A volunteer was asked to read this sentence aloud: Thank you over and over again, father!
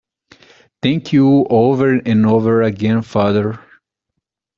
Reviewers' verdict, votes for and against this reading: accepted, 2, 0